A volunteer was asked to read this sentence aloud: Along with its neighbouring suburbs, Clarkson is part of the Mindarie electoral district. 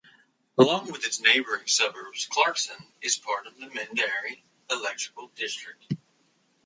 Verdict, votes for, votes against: rejected, 1, 2